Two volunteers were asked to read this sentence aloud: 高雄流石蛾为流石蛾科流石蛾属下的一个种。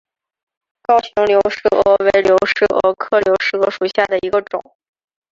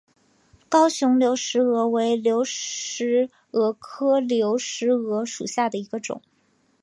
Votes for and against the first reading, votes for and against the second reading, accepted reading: 1, 2, 2, 1, second